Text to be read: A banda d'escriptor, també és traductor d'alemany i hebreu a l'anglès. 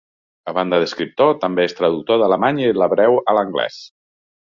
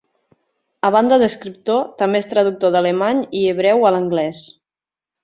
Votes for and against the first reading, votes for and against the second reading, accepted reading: 0, 2, 3, 0, second